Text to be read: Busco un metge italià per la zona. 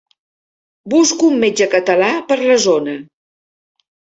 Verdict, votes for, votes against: rejected, 0, 4